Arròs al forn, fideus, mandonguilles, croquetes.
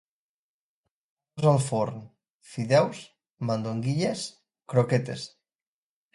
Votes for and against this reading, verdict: 0, 2, rejected